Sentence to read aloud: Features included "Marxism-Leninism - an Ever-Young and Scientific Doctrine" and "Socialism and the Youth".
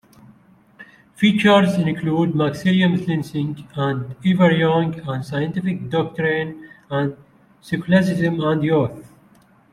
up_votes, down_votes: 0, 2